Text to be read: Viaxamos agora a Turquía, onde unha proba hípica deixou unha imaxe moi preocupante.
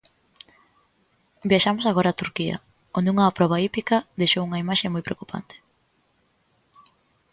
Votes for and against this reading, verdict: 2, 0, accepted